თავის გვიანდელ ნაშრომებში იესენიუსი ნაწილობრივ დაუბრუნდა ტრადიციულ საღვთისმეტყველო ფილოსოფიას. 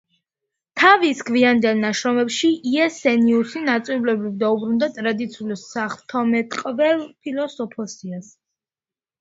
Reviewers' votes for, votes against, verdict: 0, 2, rejected